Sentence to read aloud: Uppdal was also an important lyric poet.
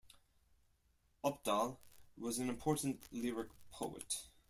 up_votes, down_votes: 0, 4